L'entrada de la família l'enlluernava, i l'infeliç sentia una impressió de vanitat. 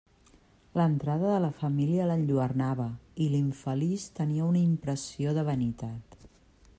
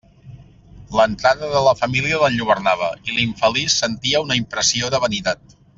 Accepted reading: second